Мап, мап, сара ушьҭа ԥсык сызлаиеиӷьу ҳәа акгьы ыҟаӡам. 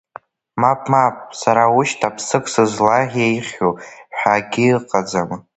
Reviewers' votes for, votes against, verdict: 0, 2, rejected